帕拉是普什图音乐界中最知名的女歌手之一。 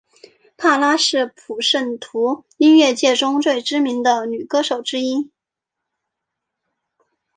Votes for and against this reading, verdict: 2, 1, accepted